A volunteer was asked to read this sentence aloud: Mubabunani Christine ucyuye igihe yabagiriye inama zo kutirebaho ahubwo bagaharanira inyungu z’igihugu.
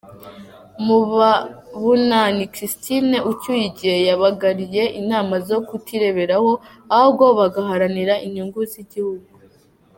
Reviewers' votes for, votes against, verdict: 0, 2, rejected